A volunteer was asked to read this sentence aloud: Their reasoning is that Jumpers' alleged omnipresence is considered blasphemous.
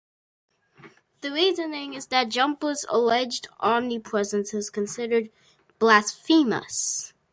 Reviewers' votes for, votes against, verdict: 0, 2, rejected